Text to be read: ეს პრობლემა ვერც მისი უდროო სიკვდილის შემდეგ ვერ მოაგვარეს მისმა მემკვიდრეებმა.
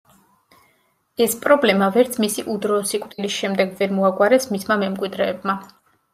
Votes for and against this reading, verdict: 2, 0, accepted